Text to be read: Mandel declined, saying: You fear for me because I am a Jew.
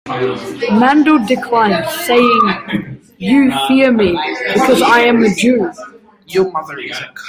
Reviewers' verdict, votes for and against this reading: rejected, 0, 2